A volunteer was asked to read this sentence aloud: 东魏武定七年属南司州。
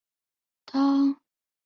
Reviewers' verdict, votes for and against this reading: rejected, 0, 2